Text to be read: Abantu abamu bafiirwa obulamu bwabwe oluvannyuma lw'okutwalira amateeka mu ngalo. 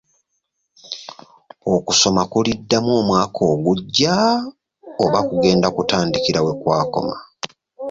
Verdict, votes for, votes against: rejected, 0, 2